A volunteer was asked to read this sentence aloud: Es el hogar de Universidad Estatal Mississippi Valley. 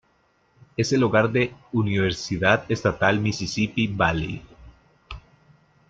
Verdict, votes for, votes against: accepted, 2, 0